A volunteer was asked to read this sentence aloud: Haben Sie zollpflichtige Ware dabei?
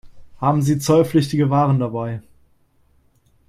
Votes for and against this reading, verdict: 2, 1, accepted